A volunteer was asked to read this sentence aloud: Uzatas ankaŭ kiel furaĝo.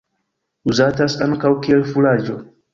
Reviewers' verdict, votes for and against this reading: rejected, 1, 2